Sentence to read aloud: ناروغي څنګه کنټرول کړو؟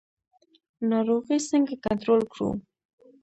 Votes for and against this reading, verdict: 1, 2, rejected